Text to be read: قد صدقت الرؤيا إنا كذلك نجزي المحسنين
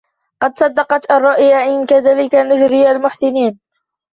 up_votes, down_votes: 3, 2